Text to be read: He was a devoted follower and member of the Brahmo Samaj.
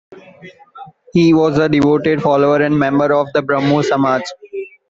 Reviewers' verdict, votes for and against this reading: rejected, 1, 2